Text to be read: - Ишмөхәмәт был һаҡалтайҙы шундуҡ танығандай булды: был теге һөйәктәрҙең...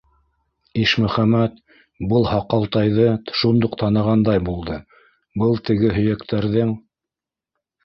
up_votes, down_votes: 2, 0